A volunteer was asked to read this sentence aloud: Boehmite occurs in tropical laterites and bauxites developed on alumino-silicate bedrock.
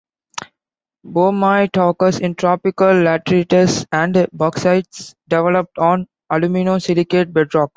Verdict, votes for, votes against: accepted, 2, 0